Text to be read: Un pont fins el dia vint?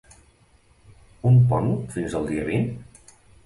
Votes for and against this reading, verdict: 2, 1, accepted